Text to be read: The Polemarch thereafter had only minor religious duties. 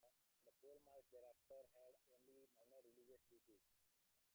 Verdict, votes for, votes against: rejected, 0, 2